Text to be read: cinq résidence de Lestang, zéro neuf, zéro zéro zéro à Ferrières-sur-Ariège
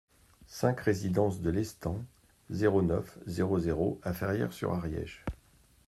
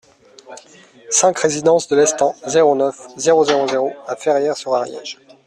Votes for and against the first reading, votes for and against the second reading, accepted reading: 1, 2, 2, 0, second